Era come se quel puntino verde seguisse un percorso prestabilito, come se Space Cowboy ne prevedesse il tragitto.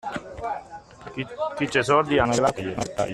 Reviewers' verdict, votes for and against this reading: rejected, 0, 2